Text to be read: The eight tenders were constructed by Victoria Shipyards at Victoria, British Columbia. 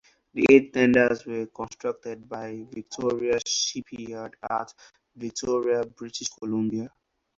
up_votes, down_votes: 2, 8